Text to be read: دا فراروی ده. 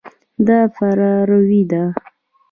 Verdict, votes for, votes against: accepted, 2, 1